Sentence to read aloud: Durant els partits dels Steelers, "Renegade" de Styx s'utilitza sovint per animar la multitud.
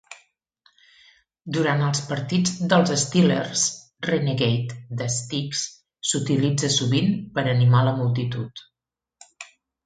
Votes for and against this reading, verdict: 2, 0, accepted